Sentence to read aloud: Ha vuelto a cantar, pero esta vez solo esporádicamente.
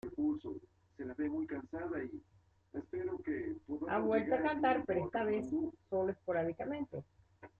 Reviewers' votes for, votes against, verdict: 0, 2, rejected